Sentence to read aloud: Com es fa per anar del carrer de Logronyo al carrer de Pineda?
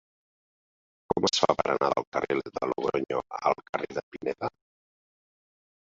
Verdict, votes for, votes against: rejected, 0, 2